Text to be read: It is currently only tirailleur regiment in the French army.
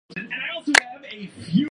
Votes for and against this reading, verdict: 0, 2, rejected